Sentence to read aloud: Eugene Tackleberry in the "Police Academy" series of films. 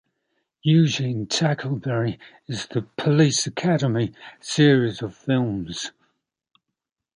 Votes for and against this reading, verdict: 2, 0, accepted